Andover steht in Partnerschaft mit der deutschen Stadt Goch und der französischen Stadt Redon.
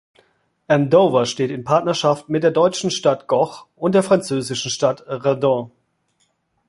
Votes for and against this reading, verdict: 2, 0, accepted